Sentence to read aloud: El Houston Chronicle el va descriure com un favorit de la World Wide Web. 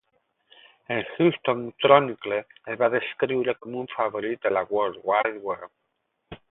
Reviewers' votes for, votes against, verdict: 0, 8, rejected